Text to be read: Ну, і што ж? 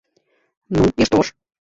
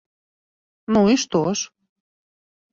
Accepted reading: second